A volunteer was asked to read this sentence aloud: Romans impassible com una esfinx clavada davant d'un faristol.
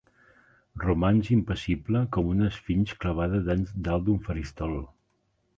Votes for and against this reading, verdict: 2, 3, rejected